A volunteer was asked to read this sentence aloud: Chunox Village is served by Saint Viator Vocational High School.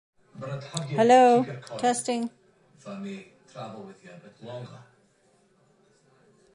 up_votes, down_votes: 0, 2